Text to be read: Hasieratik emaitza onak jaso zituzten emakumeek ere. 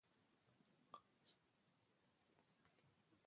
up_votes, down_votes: 0, 3